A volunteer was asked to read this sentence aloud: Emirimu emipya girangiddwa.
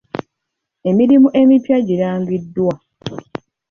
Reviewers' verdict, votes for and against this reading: accepted, 2, 1